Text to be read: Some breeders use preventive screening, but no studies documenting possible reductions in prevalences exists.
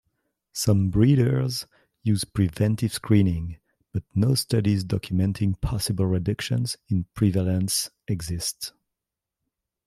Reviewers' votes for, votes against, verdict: 0, 2, rejected